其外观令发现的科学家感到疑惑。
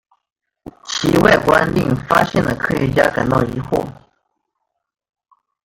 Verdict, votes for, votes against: rejected, 0, 2